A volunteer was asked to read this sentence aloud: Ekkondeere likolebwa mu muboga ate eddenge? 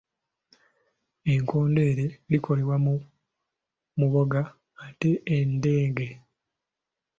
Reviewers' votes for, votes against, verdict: 2, 0, accepted